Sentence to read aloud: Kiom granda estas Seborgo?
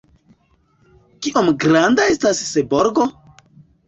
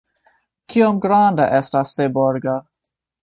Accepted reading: second